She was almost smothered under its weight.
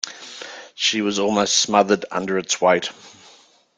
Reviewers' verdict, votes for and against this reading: accepted, 2, 0